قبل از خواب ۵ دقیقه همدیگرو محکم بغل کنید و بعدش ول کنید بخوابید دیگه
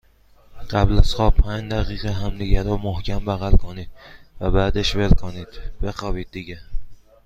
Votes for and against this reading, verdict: 0, 2, rejected